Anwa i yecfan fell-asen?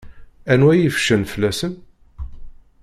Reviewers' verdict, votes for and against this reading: rejected, 1, 2